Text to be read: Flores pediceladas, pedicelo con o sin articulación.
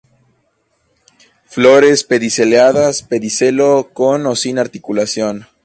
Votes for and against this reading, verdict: 2, 0, accepted